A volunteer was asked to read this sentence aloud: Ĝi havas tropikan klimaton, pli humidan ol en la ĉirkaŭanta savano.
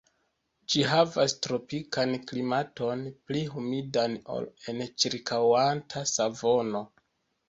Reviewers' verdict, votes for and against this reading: rejected, 0, 2